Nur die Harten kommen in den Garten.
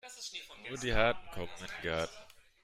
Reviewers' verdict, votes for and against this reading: rejected, 0, 2